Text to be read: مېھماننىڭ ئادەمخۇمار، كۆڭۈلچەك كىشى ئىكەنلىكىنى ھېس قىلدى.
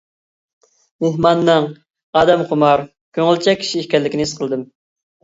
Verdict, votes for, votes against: rejected, 1, 2